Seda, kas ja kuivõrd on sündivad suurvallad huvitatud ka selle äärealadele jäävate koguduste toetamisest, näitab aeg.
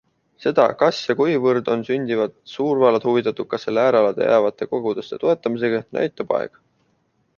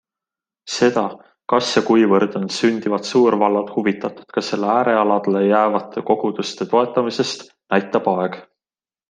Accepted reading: second